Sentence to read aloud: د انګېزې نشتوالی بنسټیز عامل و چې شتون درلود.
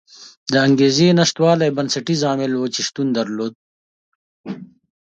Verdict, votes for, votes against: accepted, 2, 0